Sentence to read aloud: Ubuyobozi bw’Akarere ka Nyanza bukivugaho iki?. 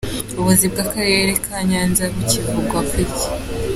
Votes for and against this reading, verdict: 0, 2, rejected